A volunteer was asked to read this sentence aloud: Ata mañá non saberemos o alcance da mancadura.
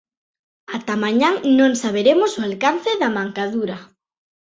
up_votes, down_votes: 2, 1